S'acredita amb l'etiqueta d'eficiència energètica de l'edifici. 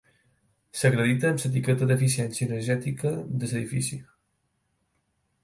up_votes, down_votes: 4, 0